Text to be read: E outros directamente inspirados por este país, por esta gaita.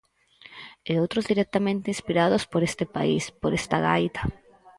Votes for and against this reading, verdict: 2, 2, rejected